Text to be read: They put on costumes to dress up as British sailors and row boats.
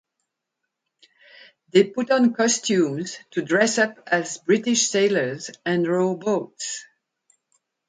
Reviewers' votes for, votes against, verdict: 2, 2, rejected